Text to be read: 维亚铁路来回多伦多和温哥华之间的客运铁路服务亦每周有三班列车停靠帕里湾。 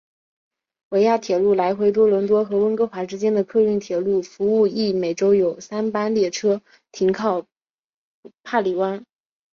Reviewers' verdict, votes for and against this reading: accepted, 4, 0